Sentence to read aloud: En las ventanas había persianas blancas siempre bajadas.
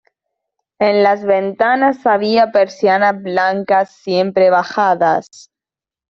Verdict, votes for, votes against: accepted, 2, 0